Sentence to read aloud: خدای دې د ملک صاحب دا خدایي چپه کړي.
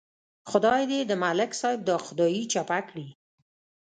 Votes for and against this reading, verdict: 2, 0, accepted